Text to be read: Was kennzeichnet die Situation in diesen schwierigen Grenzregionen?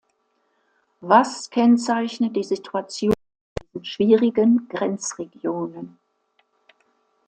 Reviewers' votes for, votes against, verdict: 0, 2, rejected